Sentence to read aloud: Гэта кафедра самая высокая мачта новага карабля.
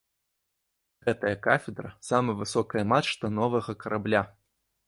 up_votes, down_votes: 1, 3